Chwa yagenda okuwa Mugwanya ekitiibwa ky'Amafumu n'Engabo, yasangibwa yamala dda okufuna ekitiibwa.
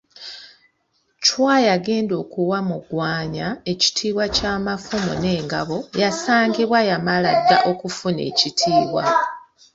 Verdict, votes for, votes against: accepted, 3, 0